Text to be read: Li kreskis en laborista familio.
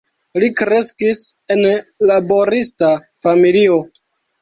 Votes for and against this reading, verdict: 1, 2, rejected